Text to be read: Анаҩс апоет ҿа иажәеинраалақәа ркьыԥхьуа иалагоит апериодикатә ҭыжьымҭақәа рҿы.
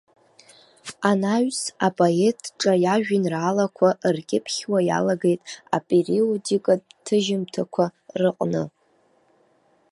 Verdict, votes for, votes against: rejected, 1, 3